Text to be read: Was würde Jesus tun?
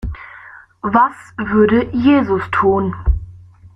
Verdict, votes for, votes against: rejected, 1, 2